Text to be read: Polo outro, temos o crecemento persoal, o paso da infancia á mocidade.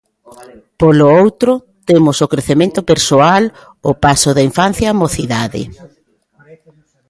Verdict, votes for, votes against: accepted, 2, 0